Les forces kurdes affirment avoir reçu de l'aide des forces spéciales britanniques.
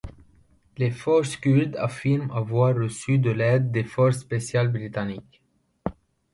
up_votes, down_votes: 0, 2